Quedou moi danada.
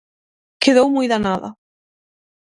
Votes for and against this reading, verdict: 6, 0, accepted